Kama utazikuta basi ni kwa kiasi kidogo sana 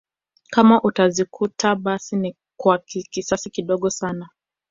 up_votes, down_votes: 1, 2